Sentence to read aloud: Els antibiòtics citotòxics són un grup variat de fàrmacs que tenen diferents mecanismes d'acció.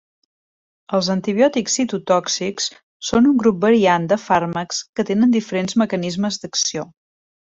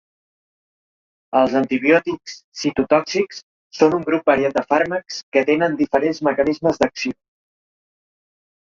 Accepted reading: first